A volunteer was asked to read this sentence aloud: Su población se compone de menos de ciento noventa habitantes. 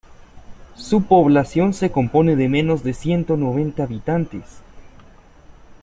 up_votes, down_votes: 2, 0